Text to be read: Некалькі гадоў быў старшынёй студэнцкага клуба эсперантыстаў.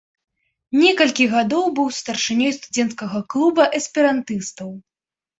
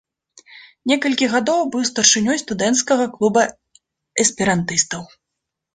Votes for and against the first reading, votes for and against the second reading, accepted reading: 0, 2, 2, 0, second